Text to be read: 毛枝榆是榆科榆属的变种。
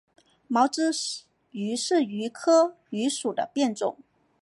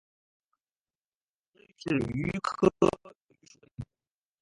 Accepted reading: first